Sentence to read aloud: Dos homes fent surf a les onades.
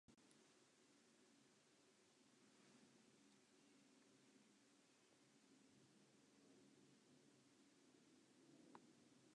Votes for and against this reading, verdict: 1, 2, rejected